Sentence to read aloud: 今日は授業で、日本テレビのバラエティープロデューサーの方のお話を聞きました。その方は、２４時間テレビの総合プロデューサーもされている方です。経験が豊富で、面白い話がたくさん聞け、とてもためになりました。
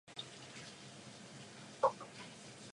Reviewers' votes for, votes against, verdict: 0, 2, rejected